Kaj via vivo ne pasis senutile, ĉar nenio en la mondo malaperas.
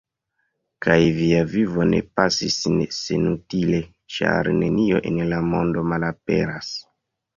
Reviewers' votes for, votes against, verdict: 1, 2, rejected